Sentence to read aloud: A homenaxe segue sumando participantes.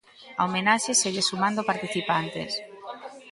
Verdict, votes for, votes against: accepted, 2, 0